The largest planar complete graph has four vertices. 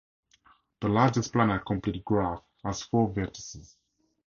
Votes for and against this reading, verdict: 2, 0, accepted